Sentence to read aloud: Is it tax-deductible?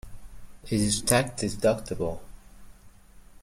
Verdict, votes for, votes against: rejected, 1, 2